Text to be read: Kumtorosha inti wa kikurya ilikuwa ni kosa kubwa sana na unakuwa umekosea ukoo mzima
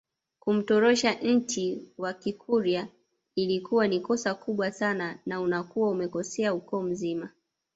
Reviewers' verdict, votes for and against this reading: rejected, 0, 2